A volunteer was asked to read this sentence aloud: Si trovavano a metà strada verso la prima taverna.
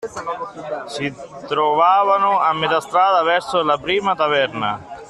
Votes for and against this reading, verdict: 0, 2, rejected